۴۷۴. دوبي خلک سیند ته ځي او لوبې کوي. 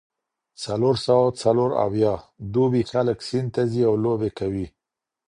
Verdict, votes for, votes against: rejected, 0, 2